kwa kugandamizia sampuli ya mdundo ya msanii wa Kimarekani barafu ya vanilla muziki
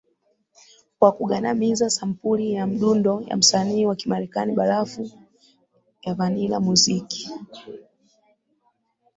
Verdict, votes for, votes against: accepted, 3, 0